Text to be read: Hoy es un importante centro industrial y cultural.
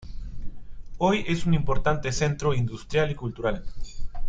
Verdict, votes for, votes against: accepted, 2, 0